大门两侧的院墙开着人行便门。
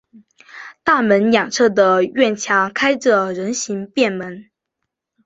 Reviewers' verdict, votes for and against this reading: accepted, 2, 0